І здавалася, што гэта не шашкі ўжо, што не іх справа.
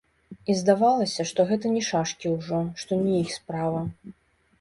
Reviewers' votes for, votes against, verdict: 2, 1, accepted